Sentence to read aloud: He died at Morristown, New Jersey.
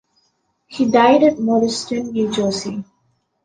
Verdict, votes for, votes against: accepted, 2, 0